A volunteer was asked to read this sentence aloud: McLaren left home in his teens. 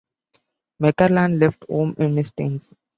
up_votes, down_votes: 0, 2